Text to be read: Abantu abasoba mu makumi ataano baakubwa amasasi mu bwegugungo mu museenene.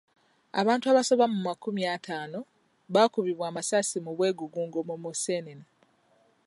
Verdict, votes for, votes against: rejected, 1, 2